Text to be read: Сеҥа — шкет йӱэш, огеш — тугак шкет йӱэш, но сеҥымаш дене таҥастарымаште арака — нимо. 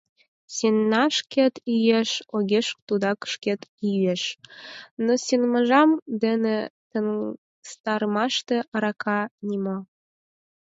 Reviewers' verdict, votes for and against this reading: rejected, 2, 4